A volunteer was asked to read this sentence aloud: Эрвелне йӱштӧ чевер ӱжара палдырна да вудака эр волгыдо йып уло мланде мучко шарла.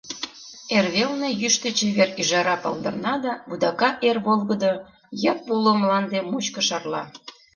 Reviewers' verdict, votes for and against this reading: accepted, 2, 0